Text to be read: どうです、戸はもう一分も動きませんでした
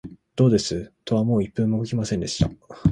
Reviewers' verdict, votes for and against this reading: accepted, 2, 0